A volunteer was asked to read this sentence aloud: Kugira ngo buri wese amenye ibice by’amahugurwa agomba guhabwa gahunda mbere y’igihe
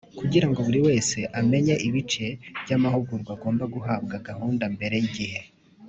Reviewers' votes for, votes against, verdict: 2, 0, accepted